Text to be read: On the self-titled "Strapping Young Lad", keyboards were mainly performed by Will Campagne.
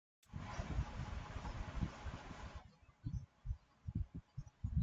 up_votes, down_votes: 0, 2